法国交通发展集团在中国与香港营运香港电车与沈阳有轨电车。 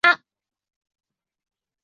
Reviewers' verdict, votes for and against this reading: rejected, 0, 2